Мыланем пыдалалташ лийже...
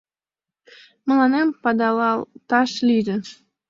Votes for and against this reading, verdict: 1, 2, rejected